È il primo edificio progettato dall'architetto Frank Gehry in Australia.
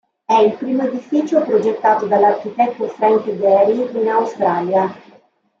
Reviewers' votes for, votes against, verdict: 2, 0, accepted